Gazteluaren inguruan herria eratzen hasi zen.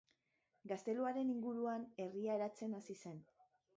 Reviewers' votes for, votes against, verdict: 2, 1, accepted